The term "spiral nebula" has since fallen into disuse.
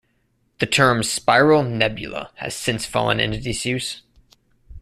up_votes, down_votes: 2, 0